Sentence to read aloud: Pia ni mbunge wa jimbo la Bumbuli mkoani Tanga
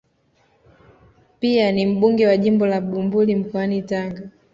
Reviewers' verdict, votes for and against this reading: accepted, 2, 0